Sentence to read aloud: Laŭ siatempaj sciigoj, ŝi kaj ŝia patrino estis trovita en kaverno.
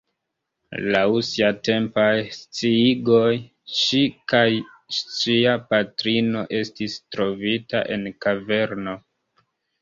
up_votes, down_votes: 2, 1